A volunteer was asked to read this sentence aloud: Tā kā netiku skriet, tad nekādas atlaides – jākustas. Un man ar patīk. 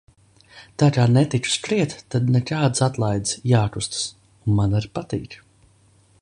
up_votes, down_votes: 2, 0